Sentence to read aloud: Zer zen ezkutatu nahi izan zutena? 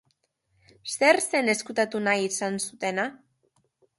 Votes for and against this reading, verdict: 2, 0, accepted